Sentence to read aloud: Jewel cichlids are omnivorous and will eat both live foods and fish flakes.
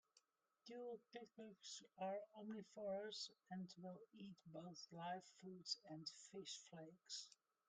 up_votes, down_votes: 0, 2